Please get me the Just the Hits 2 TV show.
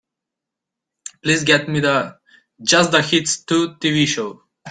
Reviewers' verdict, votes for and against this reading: rejected, 0, 2